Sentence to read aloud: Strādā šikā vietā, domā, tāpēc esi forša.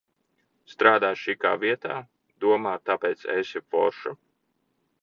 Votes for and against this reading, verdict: 1, 2, rejected